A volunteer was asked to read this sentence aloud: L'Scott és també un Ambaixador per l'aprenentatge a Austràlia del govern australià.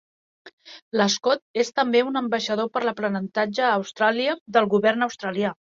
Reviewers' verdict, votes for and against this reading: accepted, 3, 0